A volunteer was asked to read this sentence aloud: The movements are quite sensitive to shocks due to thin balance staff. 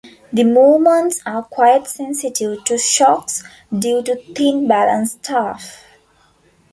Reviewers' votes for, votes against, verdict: 3, 0, accepted